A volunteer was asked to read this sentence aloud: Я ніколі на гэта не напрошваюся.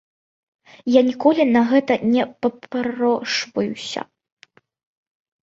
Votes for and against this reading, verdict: 0, 2, rejected